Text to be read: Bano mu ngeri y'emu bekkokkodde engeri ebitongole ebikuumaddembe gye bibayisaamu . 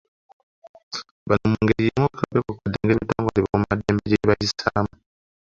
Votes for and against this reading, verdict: 0, 2, rejected